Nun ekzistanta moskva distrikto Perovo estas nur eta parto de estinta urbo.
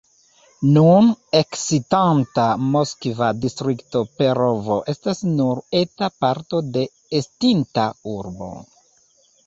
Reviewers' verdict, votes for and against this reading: rejected, 1, 2